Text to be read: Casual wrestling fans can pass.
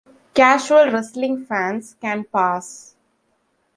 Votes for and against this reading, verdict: 2, 0, accepted